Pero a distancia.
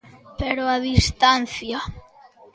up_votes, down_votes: 2, 0